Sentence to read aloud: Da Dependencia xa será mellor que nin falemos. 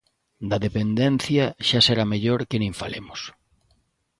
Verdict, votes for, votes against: accepted, 2, 0